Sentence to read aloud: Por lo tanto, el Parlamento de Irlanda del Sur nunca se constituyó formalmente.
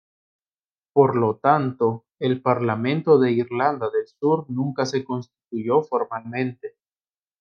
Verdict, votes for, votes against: accepted, 2, 0